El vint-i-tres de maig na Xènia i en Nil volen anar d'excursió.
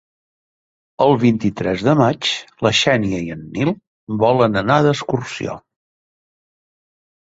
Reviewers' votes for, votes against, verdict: 0, 2, rejected